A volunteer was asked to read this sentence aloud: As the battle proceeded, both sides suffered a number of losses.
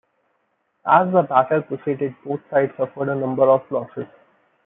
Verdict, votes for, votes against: accepted, 2, 0